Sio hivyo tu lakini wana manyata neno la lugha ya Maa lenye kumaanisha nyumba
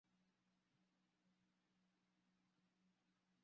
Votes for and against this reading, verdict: 0, 2, rejected